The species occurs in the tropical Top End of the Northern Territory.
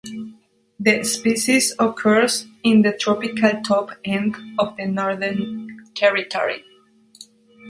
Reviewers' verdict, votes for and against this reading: accepted, 3, 0